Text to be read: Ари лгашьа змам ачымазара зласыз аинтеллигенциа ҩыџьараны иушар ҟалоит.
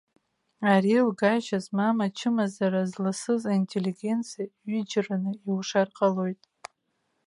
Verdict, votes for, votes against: accepted, 2, 0